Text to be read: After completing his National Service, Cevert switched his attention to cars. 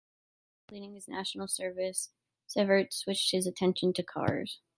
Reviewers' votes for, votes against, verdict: 0, 2, rejected